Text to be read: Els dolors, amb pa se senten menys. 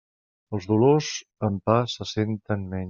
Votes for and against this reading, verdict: 0, 2, rejected